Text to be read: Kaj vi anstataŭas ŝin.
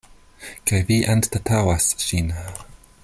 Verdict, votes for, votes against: accepted, 2, 1